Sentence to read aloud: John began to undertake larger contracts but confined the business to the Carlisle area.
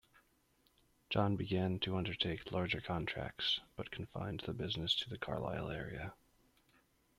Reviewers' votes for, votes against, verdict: 2, 1, accepted